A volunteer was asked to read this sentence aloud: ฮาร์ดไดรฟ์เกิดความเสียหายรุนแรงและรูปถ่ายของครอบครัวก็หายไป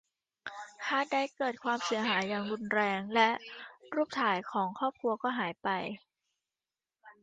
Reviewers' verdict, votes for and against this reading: rejected, 0, 2